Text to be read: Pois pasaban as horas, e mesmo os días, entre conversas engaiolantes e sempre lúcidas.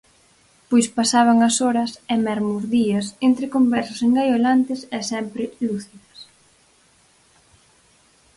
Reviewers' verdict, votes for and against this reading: accepted, 4, 0